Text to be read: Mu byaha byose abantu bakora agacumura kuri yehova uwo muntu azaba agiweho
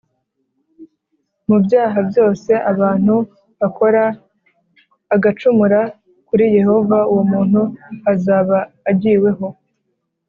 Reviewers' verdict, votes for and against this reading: accepted, 2, 0